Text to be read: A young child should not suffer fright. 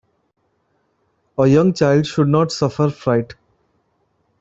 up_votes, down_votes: 2, 0